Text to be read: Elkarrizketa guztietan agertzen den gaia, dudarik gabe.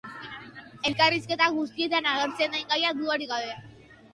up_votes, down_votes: 2, 0